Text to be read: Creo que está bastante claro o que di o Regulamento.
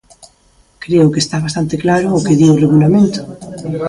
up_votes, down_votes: 3, 2